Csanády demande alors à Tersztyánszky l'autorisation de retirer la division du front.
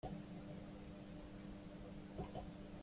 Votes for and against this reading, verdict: 0, 2, rejected